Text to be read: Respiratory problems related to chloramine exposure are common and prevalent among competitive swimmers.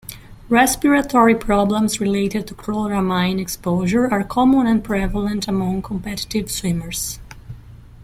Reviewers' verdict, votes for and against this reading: accepted, 2, 0